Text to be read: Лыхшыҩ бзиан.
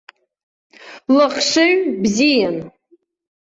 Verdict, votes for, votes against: accepted, 2, 0